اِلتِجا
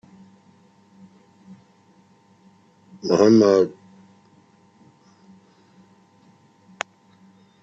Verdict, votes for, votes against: rejected, 0, 2